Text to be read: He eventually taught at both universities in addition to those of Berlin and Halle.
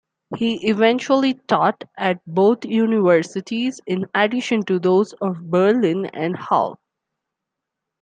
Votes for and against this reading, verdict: 2, 0, accepted